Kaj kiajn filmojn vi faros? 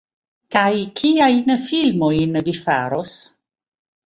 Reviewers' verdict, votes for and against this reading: accepted, 2, 0